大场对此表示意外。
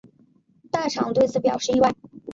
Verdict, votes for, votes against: accepted, 2, 0